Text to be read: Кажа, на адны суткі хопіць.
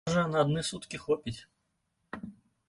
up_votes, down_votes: 1, 2